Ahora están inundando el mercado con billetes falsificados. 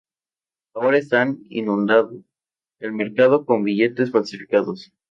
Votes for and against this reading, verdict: 0, 2, rejected